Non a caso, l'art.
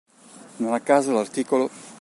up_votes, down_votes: 0, 2